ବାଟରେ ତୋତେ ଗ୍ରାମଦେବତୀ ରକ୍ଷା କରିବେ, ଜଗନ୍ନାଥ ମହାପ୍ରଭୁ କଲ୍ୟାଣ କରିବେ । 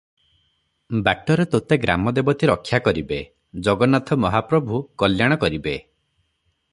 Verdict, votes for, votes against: accepted, 3, 0